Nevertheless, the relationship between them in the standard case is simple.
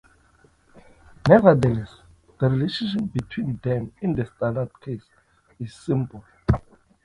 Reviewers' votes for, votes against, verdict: 2, 3, rejected